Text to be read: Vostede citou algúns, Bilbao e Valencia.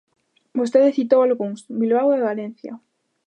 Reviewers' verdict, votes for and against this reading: accepted, 2, 0